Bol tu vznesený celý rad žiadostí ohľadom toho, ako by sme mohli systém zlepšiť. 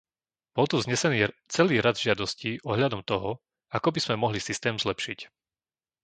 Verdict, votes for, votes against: rejected, 0, 2